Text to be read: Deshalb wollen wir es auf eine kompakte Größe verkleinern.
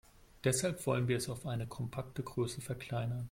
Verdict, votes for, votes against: accepted, 2, 0